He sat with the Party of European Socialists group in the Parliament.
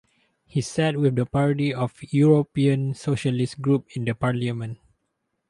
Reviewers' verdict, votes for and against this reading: rejected, 0, 2